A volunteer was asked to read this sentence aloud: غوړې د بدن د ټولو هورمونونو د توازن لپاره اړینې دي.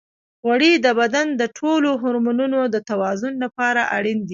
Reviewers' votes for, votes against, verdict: 2, 1, accepted